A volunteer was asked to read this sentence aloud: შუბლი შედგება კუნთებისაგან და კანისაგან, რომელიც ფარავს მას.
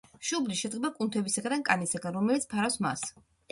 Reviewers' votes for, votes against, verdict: 2, 0, accepted